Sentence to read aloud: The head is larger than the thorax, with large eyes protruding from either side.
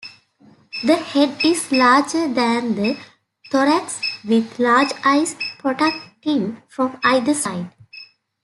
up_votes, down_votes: 0, 2